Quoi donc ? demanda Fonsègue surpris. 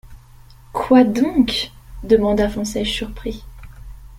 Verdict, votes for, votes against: rejected, 0, 2